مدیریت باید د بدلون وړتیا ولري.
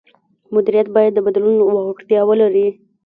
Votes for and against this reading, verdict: 0, 2, rejected